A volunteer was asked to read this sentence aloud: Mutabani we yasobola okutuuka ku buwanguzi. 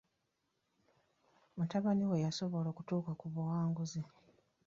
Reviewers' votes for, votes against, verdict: 1, 2, rejected